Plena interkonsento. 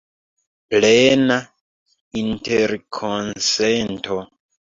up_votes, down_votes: 2, 0